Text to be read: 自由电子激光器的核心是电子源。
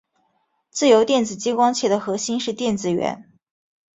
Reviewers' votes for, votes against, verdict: 2, 0, accepted